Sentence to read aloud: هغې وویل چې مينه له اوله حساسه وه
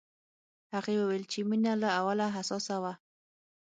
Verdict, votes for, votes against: accepted, 6, 0